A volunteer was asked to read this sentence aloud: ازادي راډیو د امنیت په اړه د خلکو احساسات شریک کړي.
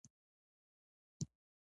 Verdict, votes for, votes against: rejected, 1, 2